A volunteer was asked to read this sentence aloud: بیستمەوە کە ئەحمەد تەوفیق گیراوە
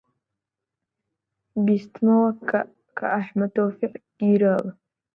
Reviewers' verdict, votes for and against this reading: accepted, 2, 0